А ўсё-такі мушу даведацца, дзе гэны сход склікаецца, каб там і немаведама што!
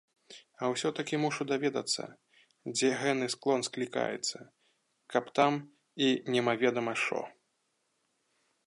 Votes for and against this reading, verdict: 1, 2, rejected